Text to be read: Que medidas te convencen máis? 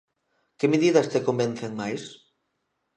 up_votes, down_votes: 2, 0